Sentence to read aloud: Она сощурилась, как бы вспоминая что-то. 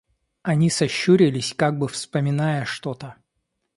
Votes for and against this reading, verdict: 0, 2, rejected